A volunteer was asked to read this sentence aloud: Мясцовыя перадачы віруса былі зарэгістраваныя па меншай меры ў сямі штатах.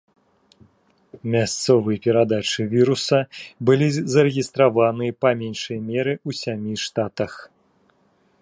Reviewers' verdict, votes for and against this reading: rejected, 1, 2